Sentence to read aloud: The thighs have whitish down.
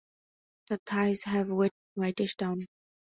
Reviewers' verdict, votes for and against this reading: rejected, 0, 2